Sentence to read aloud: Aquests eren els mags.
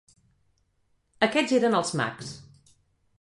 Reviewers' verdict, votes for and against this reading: accepted, 4, 0